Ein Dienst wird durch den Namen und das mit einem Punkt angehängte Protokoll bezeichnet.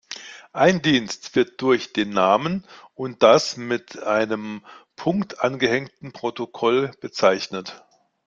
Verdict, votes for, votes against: rejected, 1, 2